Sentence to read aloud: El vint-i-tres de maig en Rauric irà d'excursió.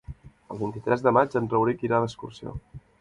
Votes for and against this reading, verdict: 5, 0, accepted